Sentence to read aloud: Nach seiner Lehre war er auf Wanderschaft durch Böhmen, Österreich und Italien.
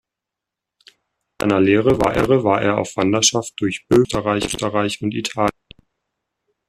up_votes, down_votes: 0, 2